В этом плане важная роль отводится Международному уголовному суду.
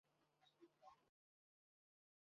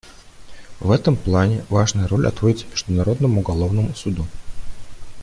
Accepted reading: second